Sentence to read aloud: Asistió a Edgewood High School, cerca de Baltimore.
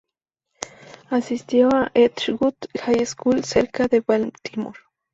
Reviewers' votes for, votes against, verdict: 0, 2, rejected